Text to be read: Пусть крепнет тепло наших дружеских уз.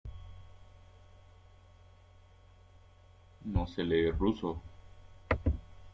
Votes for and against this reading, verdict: 0, 2, rejected